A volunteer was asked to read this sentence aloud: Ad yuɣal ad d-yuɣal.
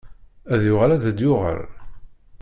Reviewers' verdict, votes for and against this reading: rejected, 1, 2